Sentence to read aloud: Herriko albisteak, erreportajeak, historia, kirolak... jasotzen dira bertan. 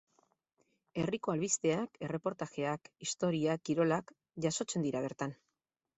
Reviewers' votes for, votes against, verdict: 4, 0, accepted